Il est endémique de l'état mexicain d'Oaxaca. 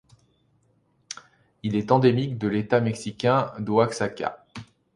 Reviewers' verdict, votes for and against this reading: accepted, 2, 0